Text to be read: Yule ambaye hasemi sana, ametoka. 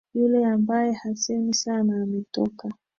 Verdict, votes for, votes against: accepted, 5, 0